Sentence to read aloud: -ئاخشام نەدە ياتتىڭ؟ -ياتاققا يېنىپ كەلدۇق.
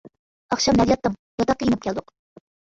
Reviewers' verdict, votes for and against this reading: rejected, 1, 2